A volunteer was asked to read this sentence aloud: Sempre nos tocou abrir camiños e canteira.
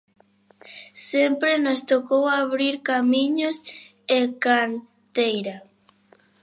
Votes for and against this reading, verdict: 1, 2, rejected